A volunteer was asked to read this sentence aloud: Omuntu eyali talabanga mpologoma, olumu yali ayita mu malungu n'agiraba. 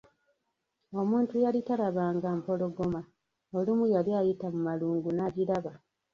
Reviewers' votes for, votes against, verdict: 1, 2, rejected